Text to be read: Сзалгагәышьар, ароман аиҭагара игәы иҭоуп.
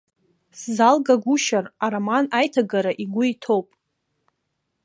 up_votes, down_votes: 3, 0